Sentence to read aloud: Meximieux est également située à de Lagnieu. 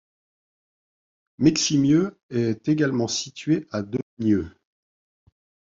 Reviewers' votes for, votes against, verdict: 0, 2, rejected